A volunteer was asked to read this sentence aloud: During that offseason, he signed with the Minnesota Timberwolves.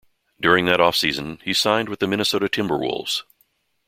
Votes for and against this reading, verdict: 2, 0, accepted